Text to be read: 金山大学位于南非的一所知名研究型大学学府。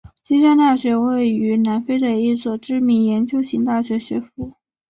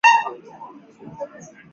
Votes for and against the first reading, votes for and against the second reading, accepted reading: 3, 0, 0, 2, first